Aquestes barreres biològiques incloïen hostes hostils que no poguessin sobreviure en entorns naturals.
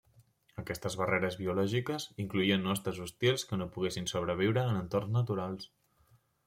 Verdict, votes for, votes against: rejected, 0, 2